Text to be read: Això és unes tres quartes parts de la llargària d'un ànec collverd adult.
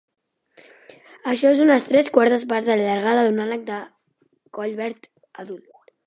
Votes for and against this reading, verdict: 0, 2, rejected